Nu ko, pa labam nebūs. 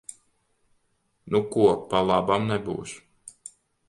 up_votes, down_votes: 2, 0